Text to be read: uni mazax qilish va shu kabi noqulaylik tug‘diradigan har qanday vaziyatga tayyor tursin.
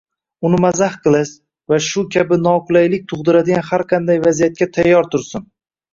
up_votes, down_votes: 2, 1